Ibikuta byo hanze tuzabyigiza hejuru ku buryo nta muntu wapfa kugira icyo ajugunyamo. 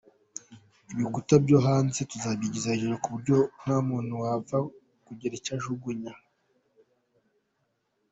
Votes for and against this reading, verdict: 2, 0, accepted